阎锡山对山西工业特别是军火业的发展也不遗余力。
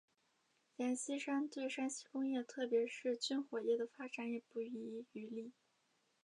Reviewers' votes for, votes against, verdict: 2, 1, accepted